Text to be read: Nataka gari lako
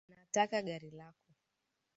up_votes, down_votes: 1, 2